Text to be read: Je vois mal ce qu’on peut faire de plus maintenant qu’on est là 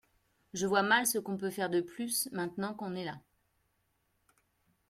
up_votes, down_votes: 2, 1